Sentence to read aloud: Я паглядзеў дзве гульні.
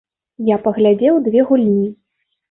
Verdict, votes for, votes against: rejected, 1, 2